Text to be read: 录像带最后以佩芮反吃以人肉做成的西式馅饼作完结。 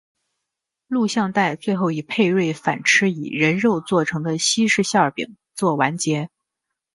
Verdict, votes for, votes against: accepted, 2, 0